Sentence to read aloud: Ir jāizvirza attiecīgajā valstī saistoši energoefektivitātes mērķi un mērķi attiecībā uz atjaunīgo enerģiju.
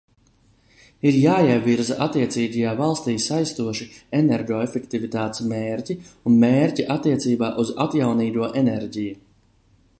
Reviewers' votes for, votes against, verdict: 1, 2, rejected